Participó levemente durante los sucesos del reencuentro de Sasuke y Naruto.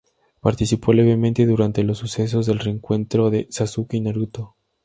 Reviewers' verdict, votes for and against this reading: accepted, 2, 0